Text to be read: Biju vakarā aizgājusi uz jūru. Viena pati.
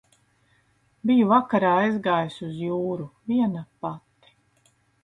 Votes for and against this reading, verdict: 3, 0, accepted